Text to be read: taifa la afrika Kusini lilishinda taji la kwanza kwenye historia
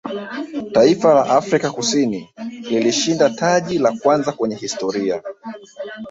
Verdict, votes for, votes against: accepted, 2, 0